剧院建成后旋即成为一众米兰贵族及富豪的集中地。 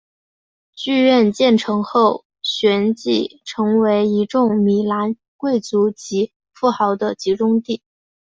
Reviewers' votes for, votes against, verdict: 3, 0, accepted